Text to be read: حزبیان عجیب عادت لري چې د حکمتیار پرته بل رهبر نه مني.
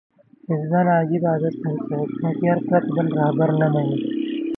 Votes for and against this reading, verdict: 0, 2, rejected